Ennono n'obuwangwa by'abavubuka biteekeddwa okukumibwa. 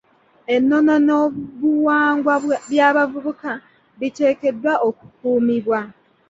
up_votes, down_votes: 0, 2